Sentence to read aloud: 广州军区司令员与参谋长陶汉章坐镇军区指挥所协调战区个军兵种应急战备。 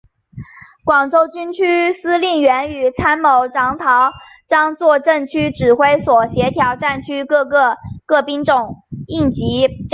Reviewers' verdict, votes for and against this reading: accepted, 5, 0